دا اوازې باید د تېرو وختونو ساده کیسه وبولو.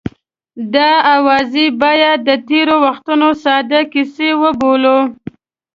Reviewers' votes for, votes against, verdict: 2, 0, accepted